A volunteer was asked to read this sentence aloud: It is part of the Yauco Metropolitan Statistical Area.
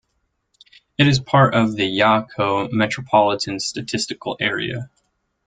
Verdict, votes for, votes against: accepted, 2, 0